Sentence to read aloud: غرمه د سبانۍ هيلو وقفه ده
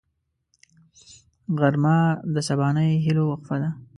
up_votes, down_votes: 2, 0